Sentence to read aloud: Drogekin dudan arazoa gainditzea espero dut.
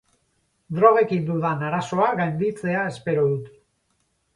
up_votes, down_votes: 4, 0